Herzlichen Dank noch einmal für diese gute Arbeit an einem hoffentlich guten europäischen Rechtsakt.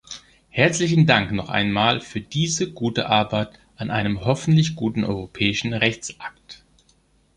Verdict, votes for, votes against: accepted, 3, 0